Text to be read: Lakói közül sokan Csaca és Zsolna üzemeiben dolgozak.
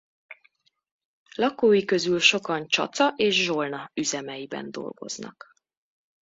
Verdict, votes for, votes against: rejected, 1, 2